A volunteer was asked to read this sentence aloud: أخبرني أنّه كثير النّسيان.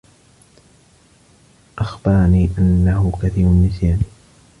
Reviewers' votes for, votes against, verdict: 2, 0, accepted